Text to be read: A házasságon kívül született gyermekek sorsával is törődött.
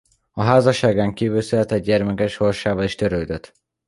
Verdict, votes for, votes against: rejected, 0, 2